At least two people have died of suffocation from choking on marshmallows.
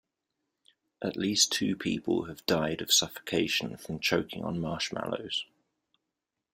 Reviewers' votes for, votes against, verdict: 2, 1, accepted